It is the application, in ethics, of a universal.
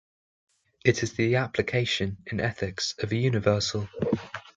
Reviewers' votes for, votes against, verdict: 2, 0, accepted